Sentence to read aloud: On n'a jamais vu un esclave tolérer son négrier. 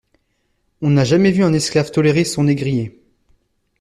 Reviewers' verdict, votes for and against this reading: accepted, 2, 0